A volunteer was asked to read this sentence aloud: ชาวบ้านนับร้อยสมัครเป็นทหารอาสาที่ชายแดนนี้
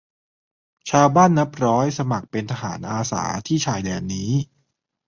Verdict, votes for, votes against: accepted, 2, 0